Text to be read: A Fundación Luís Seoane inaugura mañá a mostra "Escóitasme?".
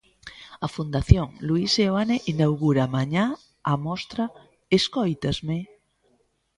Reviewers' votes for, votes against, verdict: 1, 2, rejected